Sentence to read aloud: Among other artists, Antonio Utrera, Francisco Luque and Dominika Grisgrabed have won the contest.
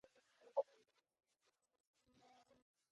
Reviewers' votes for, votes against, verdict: 0, 2, rejected